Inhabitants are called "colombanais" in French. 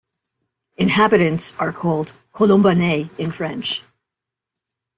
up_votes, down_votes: 3, 0